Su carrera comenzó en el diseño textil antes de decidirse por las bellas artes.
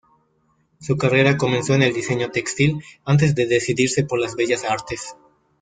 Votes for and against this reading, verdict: 2, 1, accepted